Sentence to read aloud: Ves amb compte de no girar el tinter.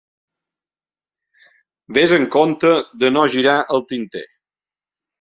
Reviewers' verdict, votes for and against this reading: accepted, 2, 0